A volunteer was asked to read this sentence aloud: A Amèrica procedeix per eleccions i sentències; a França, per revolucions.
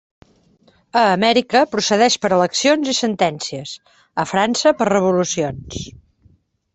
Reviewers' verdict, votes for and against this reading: accepted, 3, 0